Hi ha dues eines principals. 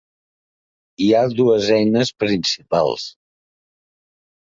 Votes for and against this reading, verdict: 3, 0, accepted